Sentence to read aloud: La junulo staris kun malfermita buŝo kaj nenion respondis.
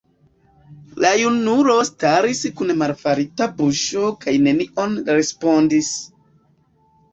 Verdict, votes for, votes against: accepted, 2, 1